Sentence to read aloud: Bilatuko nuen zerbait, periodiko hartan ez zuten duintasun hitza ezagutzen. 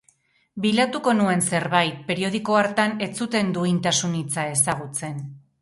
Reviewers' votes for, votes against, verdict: 2, 0, accepted